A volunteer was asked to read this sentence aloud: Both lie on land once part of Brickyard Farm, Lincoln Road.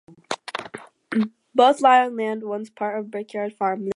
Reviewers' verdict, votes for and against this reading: rejected, 0, 4